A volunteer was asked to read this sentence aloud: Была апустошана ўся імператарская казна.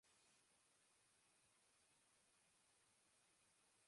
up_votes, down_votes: 0, 2